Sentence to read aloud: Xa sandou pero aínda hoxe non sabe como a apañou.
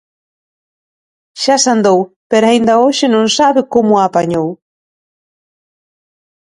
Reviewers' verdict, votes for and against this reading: accepted, 3, 0